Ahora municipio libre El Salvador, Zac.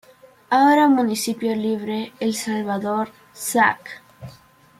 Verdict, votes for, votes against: accepted, 2, 0